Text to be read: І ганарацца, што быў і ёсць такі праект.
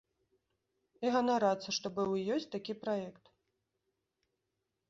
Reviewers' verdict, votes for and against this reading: accepted, 2, 0